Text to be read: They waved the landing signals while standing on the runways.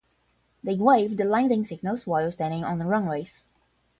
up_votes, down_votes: 0, 5